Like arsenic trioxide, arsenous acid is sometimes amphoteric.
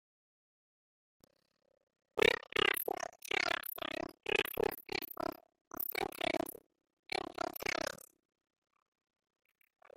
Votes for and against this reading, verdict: 0, 2, rejected